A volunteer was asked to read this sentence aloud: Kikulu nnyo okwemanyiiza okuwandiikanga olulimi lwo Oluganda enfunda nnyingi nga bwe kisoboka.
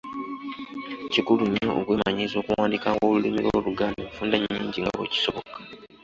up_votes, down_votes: 1, 2